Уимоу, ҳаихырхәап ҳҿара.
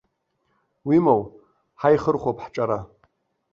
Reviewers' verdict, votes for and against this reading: rejected, 1, 2